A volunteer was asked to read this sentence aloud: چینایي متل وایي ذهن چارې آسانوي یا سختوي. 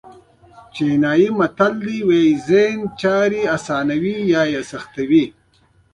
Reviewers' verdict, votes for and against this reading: rejected, 1, 2